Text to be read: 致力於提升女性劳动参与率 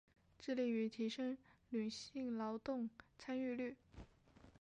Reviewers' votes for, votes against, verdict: 2, 0, accepted